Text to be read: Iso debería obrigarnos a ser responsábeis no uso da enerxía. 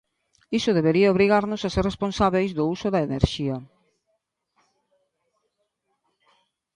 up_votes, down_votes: 1, 2